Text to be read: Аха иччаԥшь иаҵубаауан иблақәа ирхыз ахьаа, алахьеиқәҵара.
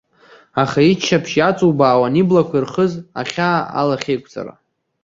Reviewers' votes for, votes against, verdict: 2, 0, accepted